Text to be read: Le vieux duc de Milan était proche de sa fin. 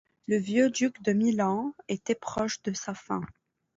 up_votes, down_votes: 2, 0